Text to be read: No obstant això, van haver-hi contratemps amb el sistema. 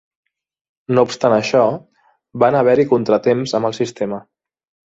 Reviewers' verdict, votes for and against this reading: accepted, 3, 0